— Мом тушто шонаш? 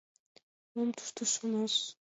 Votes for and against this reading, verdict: 2, 1, accepted